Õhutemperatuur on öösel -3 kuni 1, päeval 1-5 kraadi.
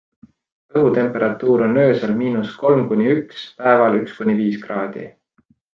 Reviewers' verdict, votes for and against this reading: rejected, 0, 2